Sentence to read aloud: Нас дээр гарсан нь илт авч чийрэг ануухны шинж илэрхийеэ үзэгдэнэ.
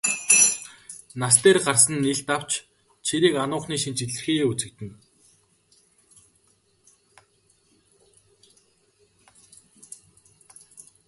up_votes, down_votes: 1, 3